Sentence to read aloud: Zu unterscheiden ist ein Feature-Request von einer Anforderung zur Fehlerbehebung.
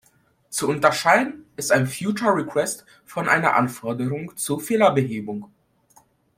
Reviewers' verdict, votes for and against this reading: rejected, 0, 2